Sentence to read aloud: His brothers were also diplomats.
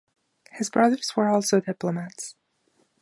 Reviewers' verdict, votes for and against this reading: accepted, 2, 0